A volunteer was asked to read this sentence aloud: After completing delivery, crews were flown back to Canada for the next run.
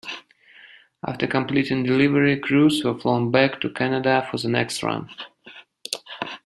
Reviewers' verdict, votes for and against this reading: accepted, 2, 0